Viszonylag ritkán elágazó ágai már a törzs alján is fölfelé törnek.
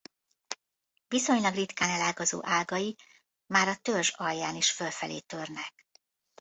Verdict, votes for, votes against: accepted, 2, 0